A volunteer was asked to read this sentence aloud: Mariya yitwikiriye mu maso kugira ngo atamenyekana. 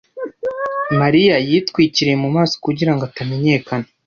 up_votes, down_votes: 2, 0